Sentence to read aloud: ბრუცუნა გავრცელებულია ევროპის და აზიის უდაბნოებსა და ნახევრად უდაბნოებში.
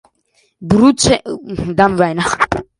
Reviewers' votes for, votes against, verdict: 0, 2, rejected